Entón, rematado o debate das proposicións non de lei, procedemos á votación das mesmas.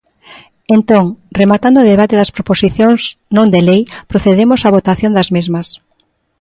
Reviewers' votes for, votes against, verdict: 0, 2, rejected